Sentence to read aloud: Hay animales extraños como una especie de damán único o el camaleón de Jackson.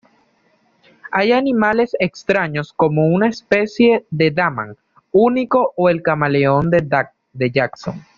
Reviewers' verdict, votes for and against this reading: accepted, 2, 0